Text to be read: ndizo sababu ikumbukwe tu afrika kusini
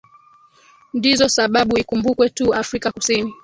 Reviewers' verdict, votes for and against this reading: accepted, 3, 0